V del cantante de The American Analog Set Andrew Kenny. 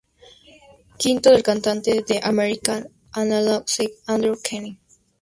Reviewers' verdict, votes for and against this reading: accepted, 2, 0